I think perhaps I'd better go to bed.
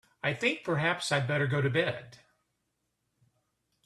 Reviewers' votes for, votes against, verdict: 2, 0, accepted